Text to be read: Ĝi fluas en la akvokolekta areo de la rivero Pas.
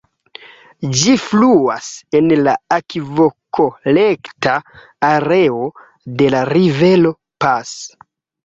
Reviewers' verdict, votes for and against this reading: rejected, 1, 2